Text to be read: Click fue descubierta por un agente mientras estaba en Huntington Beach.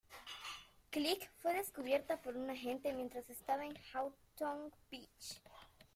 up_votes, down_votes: 0, 2